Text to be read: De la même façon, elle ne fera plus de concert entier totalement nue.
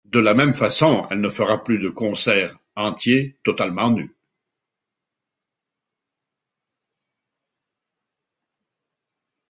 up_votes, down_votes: 2, 0